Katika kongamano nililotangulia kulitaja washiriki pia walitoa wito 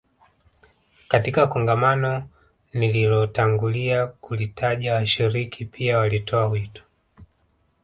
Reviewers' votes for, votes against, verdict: 1, 2, rejected